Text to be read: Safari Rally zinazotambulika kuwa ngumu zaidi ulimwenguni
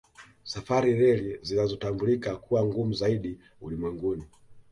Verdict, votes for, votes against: accepted, 2, 0